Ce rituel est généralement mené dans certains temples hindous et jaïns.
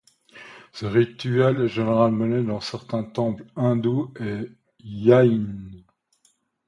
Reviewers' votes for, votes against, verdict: 2, 0, accepted